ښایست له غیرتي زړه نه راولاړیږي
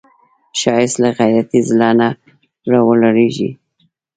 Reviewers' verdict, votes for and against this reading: accepted, 2, 0